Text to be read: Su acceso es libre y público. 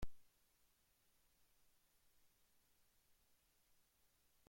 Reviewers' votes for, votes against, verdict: 0, 2, rejected